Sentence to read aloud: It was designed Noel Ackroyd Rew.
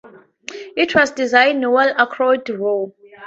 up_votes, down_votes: 0, 2